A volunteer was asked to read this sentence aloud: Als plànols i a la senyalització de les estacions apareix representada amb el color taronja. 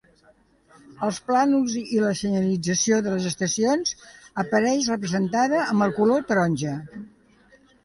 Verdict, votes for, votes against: accepted, 3, 1